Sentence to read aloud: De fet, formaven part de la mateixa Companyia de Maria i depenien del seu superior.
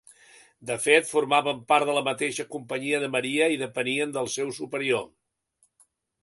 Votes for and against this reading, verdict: 2, 0, accepted